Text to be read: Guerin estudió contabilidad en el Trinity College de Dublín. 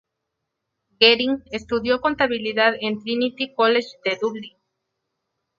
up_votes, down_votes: 0, 2